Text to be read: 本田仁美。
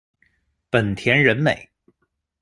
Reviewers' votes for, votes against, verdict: 2, 0, accepted